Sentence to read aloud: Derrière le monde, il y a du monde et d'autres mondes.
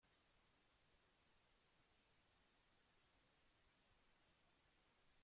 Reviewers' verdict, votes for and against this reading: rejected, 0, 2